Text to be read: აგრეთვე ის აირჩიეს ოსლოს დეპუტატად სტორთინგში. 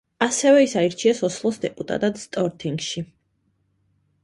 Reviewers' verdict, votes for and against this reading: accepted, 2, 0